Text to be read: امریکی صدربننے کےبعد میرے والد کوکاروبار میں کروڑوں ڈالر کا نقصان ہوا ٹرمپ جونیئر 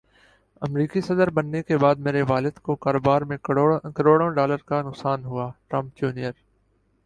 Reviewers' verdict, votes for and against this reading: rejected, 5, 5